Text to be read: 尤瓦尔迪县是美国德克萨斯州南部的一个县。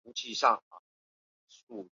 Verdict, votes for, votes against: rejected, 0, 4